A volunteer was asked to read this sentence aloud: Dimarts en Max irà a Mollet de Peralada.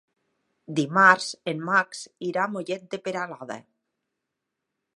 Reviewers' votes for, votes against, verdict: 3, 0, accepted